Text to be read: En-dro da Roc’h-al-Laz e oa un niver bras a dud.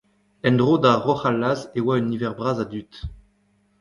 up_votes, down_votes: 1, 2